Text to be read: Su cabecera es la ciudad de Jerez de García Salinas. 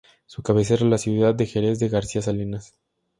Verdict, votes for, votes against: accepted, 2, 0